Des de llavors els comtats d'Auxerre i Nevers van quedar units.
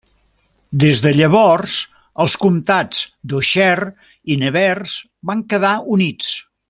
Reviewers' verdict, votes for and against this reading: accepted, 2, 0